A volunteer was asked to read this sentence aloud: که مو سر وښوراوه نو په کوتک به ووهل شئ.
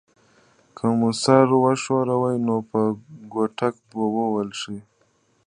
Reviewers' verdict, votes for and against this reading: rejected, 1, 2